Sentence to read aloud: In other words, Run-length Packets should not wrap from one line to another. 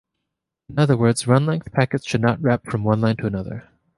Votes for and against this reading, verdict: 2, 0, accepted